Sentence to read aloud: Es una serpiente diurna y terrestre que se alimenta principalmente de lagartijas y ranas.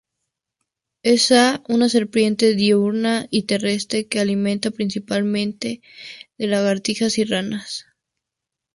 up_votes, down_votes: 2, 0